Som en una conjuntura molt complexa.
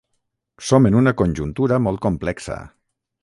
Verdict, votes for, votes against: accepted, 3, 0